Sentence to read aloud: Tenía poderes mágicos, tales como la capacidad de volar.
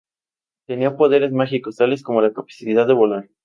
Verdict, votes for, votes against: accepted, 4, 0